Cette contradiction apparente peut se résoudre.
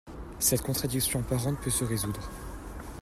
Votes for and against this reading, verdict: 2, 0, accepted